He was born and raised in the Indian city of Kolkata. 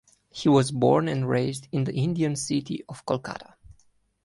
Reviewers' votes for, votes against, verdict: 2, 0, accepted